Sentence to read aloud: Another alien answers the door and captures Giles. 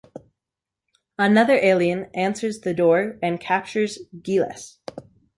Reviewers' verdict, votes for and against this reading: rejected, 1, 2